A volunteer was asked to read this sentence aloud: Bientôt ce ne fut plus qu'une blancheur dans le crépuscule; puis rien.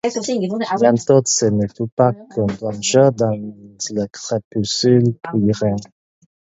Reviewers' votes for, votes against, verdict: 4, 2, accepted